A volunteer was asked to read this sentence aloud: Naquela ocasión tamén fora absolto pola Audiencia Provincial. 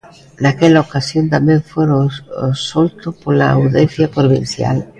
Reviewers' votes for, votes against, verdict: 0, 2, rejected